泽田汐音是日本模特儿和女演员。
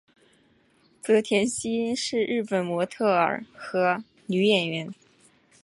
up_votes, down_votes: 6, 0